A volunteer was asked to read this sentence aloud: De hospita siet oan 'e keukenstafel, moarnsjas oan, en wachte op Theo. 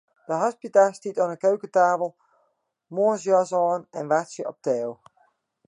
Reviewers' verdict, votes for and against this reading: rejected, 0, 2